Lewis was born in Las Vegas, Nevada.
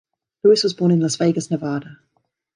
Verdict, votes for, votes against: accepted, 2, 0